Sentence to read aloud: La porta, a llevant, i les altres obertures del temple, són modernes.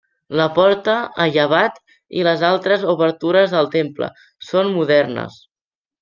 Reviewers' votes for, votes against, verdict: 0, 2, rejected